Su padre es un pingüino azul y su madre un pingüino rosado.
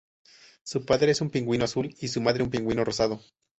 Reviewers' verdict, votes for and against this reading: accepted, 2, 0